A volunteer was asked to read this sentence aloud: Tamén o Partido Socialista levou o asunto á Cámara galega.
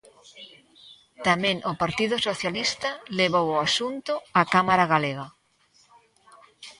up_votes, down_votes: 1, 2